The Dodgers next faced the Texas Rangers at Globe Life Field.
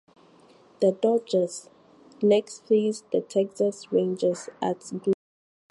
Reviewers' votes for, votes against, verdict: 0, 4, rejected